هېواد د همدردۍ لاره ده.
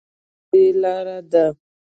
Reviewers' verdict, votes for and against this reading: rejected, 0, 2